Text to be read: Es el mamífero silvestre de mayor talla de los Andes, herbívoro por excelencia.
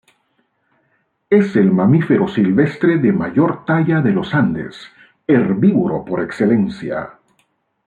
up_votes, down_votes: 2, 0